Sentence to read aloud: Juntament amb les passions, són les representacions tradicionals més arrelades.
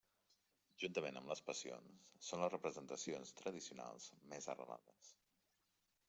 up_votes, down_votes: 1, 2